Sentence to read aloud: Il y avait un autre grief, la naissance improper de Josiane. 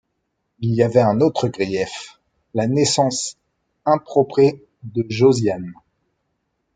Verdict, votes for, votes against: rejected, 1, 2